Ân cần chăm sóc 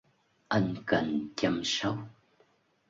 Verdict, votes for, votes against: rejected, 0, 2